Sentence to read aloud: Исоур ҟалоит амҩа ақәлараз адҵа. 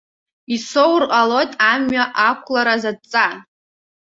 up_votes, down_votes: 2, 0